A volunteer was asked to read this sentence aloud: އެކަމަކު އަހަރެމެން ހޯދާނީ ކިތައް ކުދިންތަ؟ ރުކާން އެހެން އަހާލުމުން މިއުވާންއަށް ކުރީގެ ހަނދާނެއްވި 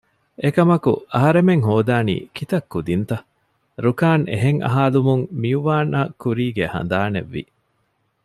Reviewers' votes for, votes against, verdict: 2, 0, accepted